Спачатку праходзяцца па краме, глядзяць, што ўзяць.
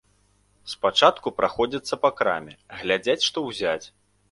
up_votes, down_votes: 2, 0